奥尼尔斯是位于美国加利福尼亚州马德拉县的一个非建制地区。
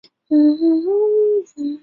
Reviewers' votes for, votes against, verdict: 0, 2, rejected